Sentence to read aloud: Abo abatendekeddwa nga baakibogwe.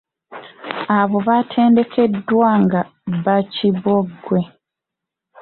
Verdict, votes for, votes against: rejected, 1, 2